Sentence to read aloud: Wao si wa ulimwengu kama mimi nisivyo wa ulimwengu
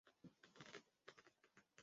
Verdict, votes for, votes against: rejected, 0, 2